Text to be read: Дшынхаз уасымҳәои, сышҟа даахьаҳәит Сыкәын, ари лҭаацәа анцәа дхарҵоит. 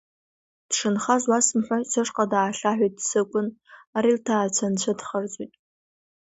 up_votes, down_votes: 2, 0